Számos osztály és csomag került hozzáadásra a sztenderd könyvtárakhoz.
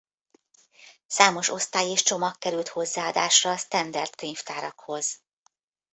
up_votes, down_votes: 2, 0